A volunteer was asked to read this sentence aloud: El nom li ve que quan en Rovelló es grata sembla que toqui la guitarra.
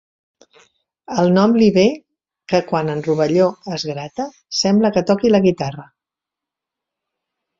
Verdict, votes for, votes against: accepted, 2, 1